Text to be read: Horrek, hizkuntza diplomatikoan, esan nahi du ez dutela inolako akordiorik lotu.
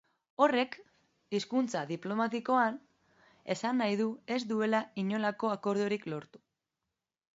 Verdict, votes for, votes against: rejected, 0, 2